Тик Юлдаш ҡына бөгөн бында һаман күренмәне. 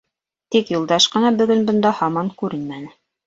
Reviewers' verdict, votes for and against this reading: accepted, 2, 0